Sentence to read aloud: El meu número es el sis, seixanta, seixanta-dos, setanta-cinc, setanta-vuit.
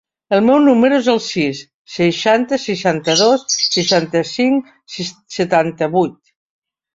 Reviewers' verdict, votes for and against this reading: rejected, 1, 2